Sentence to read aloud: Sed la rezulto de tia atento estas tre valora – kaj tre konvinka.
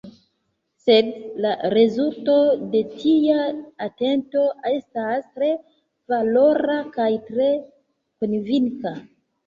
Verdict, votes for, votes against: accepted, 2, 1